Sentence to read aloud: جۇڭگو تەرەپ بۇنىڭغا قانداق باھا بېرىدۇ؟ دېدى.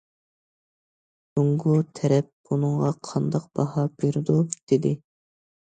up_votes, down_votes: 2, 0